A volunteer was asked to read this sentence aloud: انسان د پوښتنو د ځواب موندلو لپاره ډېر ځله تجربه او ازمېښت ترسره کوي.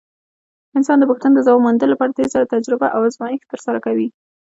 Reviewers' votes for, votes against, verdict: 1, 2, rejected